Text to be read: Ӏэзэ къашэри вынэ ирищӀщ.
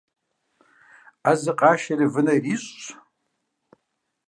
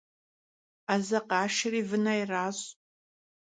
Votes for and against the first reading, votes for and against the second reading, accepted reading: 2, 1, 1, 2, first